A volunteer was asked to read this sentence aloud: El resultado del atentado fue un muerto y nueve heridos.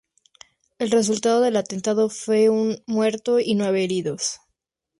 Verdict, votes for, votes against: accepted, 4, 0